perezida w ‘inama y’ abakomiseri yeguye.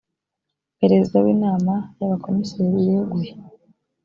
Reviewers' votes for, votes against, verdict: 2, 0, accepted